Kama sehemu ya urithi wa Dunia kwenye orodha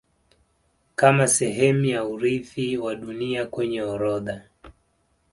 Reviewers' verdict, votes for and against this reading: accepted, 2, 0